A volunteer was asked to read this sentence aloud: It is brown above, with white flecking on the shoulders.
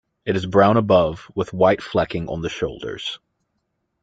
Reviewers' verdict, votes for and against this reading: accepted, 2, 0